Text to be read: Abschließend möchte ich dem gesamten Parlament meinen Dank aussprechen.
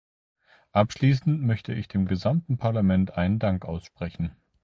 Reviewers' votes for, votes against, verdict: 1, 2, rejected